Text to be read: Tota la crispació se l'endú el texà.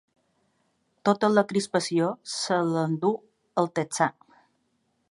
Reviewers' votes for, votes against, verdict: 2, 0, accepted